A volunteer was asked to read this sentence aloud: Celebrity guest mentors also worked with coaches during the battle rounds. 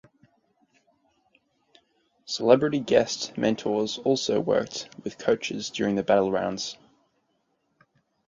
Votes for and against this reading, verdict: 2, 4, rejected